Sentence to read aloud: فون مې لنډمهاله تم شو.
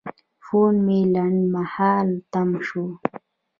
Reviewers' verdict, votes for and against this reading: rejected, 0, 2